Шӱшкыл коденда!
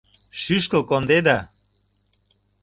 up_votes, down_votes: 0, 2